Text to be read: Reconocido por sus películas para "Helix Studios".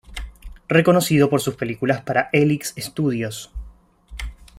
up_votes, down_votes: 2, 0